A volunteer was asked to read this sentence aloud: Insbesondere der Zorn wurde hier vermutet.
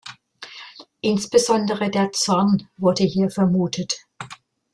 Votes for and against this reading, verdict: 2, 0, accepted